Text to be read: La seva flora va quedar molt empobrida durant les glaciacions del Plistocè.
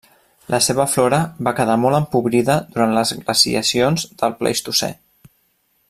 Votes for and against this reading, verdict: 1, 2, rejected